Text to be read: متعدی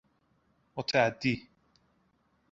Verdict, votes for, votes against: accepted, 2, 0